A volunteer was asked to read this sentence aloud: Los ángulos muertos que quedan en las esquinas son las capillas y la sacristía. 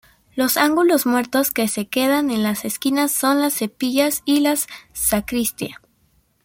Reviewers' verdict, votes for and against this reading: rejected, 0, 2